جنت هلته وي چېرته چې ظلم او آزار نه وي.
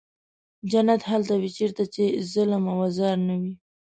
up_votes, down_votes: 2, 0